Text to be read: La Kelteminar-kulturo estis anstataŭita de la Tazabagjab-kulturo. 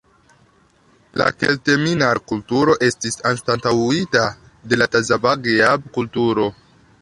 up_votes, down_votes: 1, 2